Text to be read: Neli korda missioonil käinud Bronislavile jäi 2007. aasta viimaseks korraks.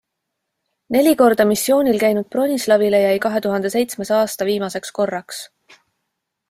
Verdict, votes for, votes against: rejected, 0, 2